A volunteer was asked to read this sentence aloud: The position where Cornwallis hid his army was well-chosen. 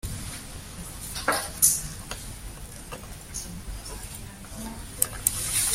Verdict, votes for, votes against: rejected, 0, 2